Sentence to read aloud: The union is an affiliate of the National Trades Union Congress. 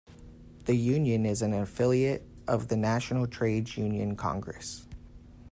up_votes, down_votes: 2, 0